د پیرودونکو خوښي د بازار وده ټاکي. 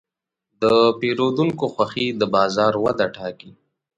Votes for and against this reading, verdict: 2, 0, accepted